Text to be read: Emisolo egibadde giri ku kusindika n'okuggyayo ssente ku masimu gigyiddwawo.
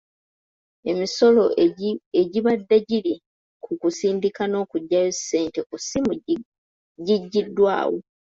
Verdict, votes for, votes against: accepted, 2, 0